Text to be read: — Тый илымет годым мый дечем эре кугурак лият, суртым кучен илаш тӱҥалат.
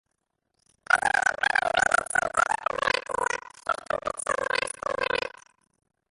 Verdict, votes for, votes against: rejected, 0, 2